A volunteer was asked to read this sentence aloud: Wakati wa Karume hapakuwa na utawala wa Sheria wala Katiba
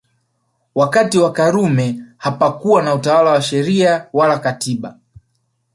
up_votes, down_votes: 1, 2